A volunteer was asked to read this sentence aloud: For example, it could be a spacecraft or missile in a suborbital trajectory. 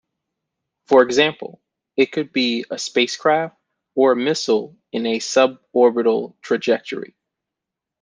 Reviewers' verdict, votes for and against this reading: accepted, 2, 0